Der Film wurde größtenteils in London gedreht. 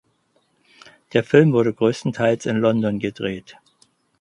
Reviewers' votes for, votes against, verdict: 4, 0, accepted